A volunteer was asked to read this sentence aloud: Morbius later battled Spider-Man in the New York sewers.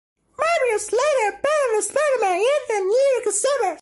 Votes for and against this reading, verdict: 0, 2, rejected